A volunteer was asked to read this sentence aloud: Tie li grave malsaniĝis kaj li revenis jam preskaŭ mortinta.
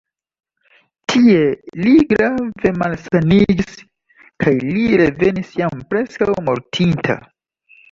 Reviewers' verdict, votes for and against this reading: accepted, 2, 0